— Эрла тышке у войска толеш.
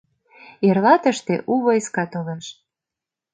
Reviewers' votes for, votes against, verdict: 0, 2, rejected